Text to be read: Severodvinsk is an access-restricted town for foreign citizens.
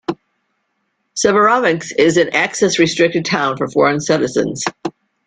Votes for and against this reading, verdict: 2, 0, accepted